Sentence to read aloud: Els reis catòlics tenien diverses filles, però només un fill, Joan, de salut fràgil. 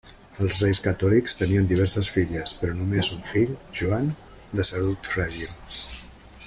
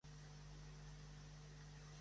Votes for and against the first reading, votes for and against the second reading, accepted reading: 2, 0, 1, 2, first